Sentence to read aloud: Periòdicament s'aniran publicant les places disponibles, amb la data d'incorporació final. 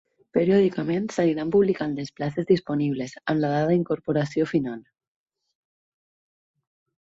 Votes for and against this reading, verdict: 2, 4, rejected